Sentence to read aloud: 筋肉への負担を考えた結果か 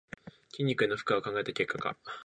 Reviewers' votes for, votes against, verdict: 2, 3, rejected